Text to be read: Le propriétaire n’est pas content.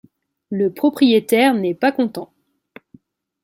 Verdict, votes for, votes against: accepted, 2, 0